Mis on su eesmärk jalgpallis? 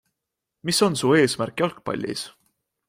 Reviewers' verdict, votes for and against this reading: accepted, 4, 0